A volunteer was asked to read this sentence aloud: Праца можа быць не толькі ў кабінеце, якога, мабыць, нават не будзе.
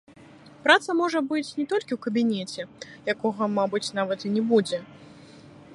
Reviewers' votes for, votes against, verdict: 2, 1, accepted